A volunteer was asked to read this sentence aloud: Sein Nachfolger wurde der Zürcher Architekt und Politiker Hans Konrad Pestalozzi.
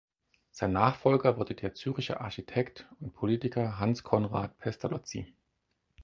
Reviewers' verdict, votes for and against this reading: rejected, 2, 4